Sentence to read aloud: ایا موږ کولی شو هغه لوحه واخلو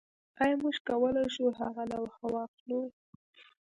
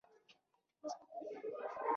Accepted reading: first